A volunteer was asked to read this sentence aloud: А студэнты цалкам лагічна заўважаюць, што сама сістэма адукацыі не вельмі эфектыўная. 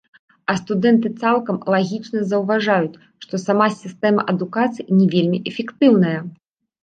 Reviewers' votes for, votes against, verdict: 1, 2, rejected